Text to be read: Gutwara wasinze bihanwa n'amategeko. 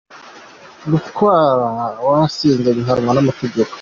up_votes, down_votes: 2, 1